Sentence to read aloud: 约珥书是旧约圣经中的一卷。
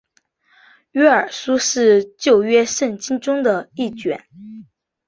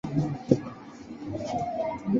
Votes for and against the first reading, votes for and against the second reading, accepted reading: 3, 0, 0, 2, first